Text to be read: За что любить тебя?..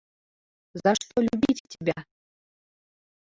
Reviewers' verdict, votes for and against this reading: rejected, 1, 3